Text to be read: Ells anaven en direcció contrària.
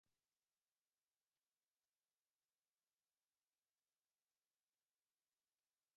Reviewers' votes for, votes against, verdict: 0, 2, rejected